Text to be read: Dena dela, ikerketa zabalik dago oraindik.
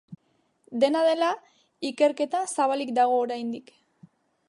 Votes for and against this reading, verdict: 2, 0, accepted